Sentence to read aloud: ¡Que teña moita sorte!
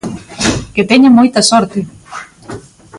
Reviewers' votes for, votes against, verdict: 1, 2, rejected